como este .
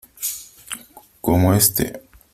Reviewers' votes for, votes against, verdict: 2, 0, accepted